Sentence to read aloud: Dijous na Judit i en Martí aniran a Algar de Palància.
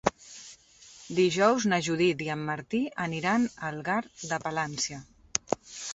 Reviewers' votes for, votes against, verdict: 3, 0, accepted